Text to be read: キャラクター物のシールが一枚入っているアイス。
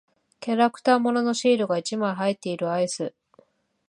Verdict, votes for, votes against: accepted, 2, 0